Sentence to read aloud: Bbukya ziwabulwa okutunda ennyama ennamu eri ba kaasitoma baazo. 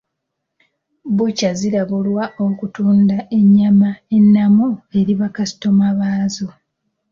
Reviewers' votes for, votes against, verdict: 2, 0, accepted